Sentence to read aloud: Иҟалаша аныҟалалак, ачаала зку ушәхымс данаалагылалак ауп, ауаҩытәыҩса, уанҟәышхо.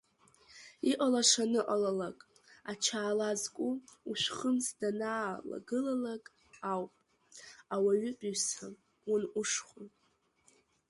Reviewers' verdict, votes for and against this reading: rejected, 1, 2